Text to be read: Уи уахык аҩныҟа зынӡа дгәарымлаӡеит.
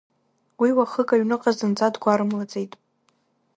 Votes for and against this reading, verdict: 3, 1, accepted